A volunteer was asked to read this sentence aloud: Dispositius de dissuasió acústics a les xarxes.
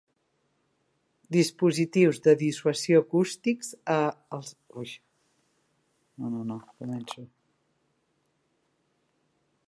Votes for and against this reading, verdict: 0, 2, rejected